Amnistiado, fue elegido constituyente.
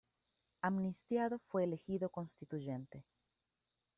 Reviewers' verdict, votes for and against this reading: accepted, 2, 0